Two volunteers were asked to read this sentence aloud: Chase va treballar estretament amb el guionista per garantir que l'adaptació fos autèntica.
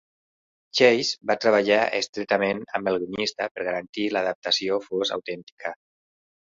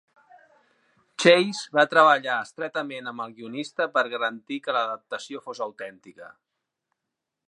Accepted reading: second